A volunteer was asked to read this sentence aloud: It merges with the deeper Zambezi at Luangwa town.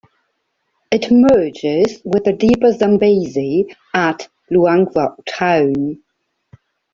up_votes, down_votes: 0, 2